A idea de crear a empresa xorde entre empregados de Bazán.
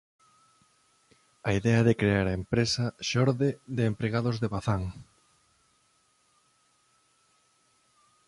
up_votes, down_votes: 1, 2